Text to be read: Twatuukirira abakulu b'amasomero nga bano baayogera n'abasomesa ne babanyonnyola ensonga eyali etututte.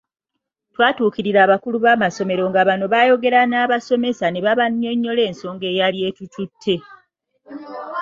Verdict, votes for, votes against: accepted, 2, 0